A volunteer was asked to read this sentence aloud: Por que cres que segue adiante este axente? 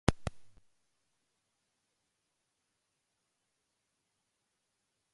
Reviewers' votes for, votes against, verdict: 0, 2, rejected